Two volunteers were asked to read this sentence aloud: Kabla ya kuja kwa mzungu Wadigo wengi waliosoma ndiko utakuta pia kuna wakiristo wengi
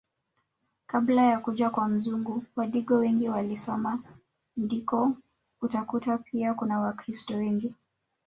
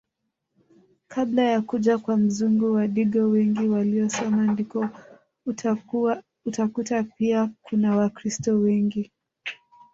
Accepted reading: second